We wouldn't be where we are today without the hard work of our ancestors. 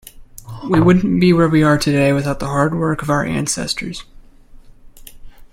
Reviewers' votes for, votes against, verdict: 2, 0, accepted